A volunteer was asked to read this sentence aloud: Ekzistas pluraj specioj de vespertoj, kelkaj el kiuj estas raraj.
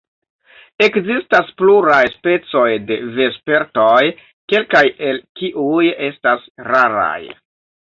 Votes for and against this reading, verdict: 0, 2, rejected